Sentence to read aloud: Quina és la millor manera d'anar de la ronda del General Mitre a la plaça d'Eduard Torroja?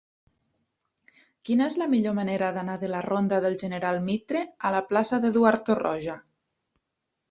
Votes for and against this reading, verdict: 1, 2, rejected